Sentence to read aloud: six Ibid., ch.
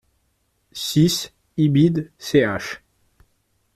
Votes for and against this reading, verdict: 2, 0, accepted